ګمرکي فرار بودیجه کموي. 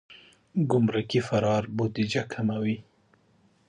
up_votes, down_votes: 2, 1